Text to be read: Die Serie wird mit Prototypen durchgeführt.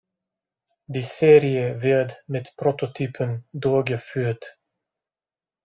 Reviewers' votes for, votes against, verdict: 0, 2, rejected